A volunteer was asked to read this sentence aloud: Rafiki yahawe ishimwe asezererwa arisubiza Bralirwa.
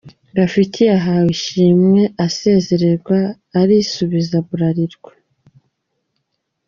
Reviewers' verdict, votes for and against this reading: accepted, 2, 0